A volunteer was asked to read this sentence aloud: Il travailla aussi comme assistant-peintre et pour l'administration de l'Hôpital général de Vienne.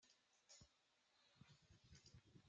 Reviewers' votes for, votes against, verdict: 0, 2, rejected